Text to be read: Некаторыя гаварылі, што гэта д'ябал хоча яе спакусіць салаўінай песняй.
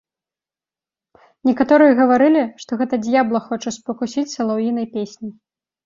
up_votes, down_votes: 0, 2